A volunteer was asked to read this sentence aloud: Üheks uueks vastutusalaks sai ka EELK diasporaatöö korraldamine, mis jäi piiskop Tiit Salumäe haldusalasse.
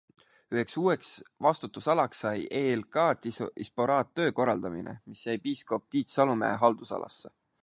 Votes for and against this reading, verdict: 0, 2, rejected